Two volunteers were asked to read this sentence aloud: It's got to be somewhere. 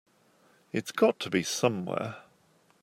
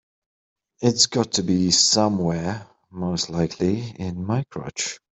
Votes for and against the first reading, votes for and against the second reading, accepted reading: 2, 0, 0, 2, first